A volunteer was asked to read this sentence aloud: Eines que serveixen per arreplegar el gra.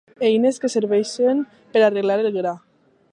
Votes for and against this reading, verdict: 0, 2, rejected